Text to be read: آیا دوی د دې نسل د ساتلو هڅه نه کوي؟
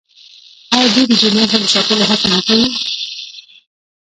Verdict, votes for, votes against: accepted, 2, 1